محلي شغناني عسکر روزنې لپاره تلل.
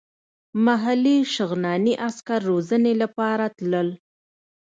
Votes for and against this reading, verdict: 2, 0, accepted